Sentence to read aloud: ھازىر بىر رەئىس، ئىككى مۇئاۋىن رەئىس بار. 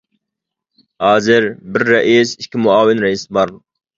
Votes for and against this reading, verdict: 2, 0, accepted